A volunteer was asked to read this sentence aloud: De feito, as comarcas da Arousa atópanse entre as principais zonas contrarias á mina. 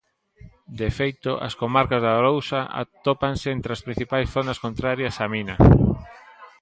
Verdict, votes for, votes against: accepted, 2, 0